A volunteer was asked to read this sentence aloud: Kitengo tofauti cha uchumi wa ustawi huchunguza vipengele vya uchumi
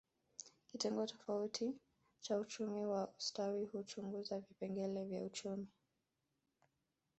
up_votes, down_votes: 0, 2